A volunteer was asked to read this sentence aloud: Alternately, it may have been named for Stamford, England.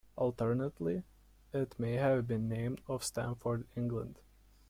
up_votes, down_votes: 2, 0